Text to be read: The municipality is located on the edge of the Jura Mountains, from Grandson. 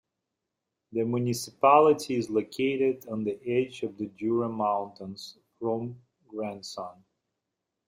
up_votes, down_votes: 2, 1